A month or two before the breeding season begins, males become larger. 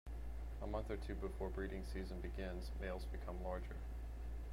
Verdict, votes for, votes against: rejected, 0, 2